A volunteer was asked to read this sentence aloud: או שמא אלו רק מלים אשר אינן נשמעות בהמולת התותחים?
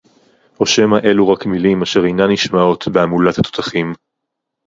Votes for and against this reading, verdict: 0, 2, rejected